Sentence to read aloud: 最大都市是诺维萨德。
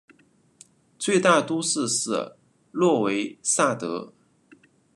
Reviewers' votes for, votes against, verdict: 2, 0, accepted